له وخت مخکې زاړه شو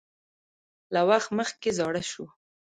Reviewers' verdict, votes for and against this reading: rejected, 1, 2